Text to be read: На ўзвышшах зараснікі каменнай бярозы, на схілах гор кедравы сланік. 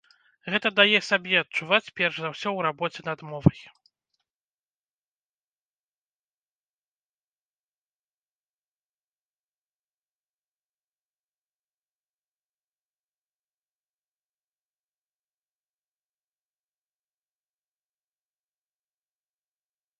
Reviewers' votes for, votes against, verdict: 0, 2, rejected